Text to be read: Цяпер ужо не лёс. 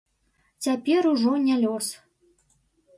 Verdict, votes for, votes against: accepted, 2, 0